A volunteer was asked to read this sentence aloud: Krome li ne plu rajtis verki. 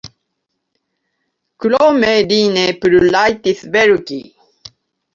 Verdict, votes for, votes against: accepted, 2, 0